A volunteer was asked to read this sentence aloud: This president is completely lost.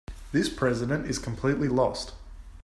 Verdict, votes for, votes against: accepted, 3, 0